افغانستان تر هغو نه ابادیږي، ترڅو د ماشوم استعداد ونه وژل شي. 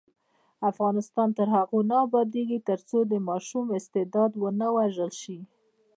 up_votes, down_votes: 1, 2